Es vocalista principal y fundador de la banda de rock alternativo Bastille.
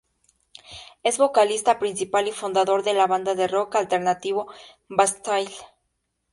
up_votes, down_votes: 0, 2